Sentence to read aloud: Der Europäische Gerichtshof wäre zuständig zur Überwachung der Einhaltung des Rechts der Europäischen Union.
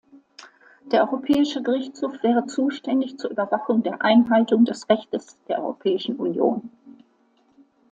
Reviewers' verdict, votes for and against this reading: accepted, 2, 1